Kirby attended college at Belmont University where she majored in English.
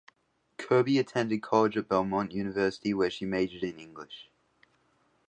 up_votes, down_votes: 2, 0